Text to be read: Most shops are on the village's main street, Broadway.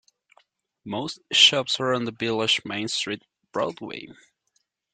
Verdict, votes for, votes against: rejected, 0, 2